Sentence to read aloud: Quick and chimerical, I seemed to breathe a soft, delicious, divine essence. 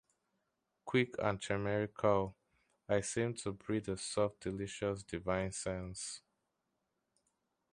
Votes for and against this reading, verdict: 0, 2, rejected